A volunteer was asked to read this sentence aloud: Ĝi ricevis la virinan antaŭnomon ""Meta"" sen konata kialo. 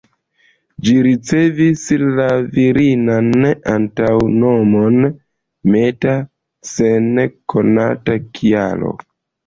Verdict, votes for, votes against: accepted, 2, 1